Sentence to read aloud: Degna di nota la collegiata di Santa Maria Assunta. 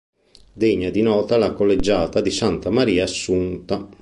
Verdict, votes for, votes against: accepted, 2, 0